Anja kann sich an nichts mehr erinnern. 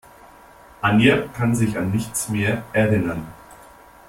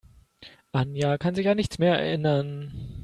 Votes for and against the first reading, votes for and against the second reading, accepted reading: 2, 0, 1, 2, first